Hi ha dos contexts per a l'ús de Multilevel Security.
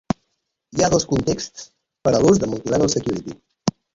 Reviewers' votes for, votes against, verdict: 2, 1, accepted